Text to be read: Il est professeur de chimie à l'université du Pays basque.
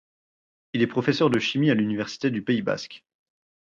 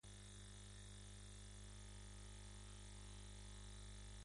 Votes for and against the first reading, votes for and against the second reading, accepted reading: 4, 0, 1, 2, first